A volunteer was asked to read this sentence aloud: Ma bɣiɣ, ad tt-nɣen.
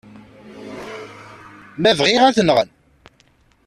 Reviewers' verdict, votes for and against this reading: rejected, 1, 2